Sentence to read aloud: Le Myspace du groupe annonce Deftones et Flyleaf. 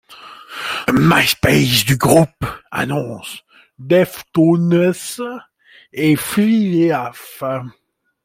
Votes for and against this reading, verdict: 1, 2, rejected